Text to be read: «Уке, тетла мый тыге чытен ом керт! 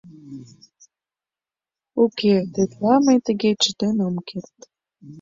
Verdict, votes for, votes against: accepted, 2, 0